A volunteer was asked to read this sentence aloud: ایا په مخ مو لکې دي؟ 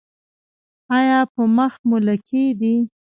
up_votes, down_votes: 1, 2